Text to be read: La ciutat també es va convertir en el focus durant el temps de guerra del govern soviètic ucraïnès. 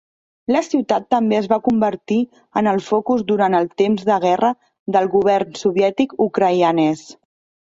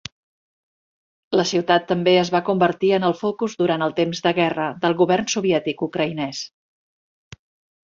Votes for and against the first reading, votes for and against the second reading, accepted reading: 0, 2, 3, 0, second